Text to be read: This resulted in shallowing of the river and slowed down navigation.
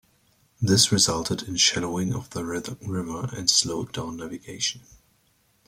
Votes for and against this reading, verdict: 1, 2, rejected